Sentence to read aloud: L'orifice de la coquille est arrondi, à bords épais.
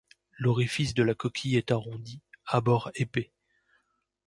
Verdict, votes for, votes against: accepted, 2, 0